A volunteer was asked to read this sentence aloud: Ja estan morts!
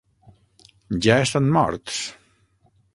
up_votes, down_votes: 3, 6